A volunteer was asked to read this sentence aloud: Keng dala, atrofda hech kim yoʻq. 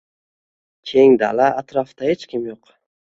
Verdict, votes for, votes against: accepted, 2, 0